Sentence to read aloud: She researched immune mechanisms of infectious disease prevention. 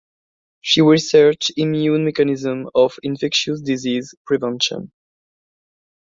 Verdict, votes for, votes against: rejected, 1, 2